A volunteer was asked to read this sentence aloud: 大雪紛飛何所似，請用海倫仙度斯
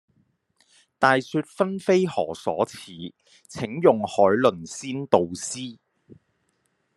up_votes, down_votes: 0, 2